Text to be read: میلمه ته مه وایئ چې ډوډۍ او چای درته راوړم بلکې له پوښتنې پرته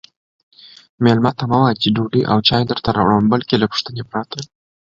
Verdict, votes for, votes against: accepted, 2, 0